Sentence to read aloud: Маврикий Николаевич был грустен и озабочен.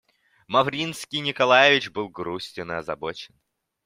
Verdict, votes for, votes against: rejected, 0, 2